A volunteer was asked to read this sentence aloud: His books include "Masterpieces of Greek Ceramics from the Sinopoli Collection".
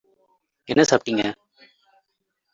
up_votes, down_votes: 0, 2